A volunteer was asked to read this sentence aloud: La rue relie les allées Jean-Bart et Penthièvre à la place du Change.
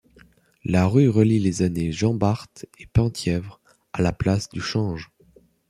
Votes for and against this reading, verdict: 2, 0, accepted